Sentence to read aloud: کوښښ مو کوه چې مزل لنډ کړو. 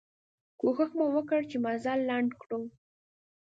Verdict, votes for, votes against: rejected, 1, 2